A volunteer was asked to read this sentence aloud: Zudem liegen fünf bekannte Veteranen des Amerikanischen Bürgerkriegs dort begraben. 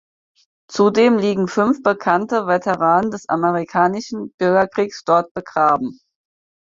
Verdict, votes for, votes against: accepted, 4, 0